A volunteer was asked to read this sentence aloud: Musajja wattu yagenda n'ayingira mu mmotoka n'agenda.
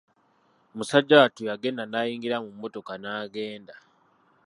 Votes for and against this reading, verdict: 1, 2, rejected